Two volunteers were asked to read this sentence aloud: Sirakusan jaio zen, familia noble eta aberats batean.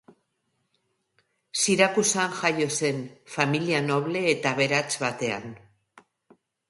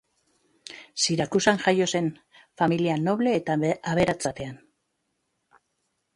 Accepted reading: first